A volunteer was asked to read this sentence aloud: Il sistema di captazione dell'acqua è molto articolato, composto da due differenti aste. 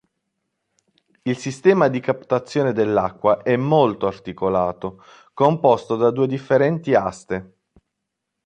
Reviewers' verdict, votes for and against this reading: accepted, 2, 0